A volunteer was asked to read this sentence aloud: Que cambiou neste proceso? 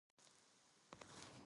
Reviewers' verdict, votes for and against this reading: rejected, 0, 4